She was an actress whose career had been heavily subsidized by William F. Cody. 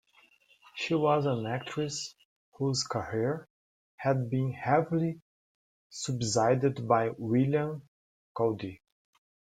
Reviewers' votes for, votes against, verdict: 0, 2, rejected